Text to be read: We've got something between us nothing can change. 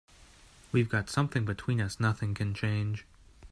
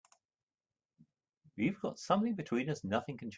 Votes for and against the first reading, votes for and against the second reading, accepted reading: 2, 0, 0, 2, first